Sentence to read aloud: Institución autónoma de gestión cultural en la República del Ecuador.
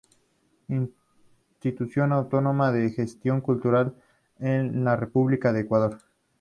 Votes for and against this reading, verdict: 0, 2, rejected